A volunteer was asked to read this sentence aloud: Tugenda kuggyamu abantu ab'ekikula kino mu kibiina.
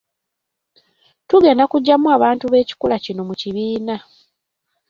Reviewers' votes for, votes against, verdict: 1, 2, rejected